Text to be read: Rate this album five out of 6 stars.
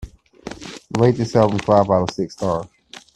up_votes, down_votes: 0, 2